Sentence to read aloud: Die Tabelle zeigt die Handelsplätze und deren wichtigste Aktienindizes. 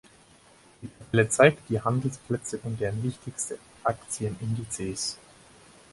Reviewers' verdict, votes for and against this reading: rejected, 0, 4